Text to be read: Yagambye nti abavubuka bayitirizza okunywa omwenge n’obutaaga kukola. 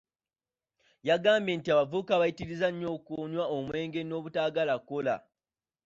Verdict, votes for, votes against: accepted, 2, 0